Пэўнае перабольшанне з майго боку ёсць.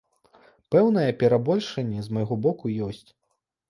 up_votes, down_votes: 2, 0